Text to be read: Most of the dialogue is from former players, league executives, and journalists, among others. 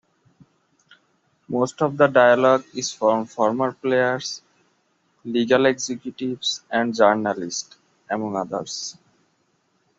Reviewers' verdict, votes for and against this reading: rejected, 0, 2